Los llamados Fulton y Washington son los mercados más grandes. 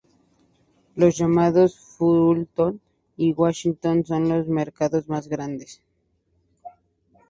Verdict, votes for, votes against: accepted, 4, 2